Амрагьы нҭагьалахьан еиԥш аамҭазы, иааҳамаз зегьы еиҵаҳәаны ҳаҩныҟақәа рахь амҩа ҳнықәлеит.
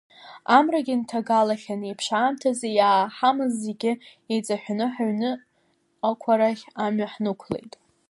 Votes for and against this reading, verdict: 1, 2, rejected